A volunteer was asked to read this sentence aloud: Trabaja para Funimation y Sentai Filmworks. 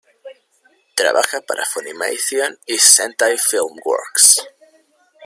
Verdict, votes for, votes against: accepted, 2, 1